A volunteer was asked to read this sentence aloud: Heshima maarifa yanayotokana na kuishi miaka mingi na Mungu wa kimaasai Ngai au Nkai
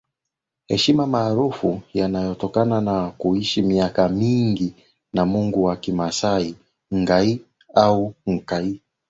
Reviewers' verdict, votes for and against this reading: rejected, 3, 5